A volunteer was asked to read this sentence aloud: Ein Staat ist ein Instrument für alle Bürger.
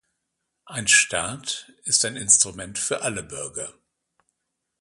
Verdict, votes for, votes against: accepted, 2, 0